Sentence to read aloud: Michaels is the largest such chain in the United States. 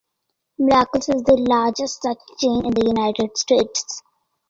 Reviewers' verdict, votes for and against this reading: rejected, 1, 2